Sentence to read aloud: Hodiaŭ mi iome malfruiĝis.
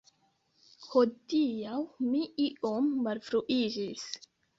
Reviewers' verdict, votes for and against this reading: rejected, 0, 2